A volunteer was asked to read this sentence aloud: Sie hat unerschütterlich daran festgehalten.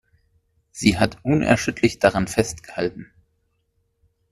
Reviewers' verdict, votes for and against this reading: accepted, 2, 1